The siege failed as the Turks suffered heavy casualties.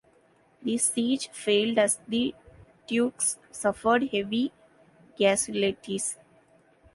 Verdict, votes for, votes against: rejected, 1, 2